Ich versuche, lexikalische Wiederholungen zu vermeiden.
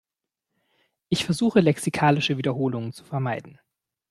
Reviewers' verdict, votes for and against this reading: accepted, 2, 0